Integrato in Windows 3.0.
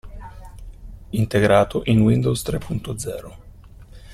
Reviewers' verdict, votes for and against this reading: rejected, 0, 2